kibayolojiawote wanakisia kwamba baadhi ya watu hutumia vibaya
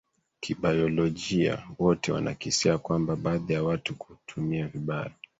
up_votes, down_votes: 1, 2